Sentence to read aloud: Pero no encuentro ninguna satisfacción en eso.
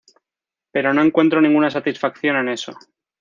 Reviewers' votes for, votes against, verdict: 2, 0, accepted